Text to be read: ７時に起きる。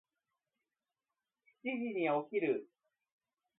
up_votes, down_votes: 0, 2